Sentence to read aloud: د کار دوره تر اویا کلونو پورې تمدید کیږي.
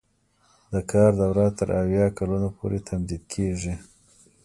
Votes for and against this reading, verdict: 1, 2, rejected